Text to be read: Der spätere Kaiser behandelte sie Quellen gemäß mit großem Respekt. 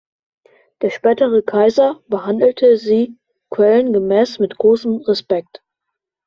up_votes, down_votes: 2, 0